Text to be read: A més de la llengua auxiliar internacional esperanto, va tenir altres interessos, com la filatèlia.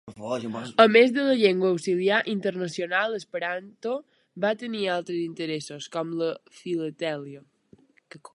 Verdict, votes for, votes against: rejected, 0, 2